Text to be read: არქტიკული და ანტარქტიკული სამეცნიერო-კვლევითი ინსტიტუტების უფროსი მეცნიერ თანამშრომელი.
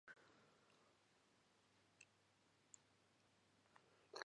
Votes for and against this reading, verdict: 1, 2, rejected